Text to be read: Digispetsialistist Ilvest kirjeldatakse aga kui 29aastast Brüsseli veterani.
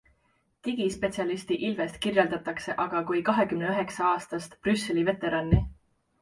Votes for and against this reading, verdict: 0, 2, rejected